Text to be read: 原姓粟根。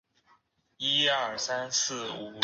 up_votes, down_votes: 0, 2